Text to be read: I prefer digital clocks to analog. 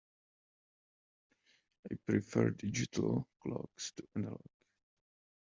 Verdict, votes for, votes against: rejected, 0, 2